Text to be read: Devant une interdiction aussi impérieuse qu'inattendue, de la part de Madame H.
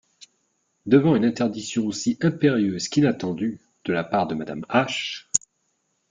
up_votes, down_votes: 2, 1